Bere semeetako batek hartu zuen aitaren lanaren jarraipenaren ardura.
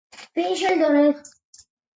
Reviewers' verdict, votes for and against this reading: rejected, 0, 2